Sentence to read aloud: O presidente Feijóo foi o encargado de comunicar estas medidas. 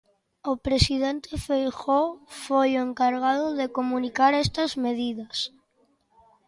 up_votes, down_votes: 2, 0